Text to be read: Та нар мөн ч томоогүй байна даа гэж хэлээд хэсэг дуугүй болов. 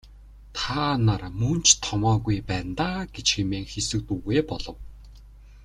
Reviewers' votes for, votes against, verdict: 1, 2, rejected